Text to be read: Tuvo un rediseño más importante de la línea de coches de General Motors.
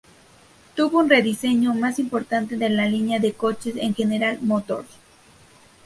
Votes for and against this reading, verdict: 2, 2, rejected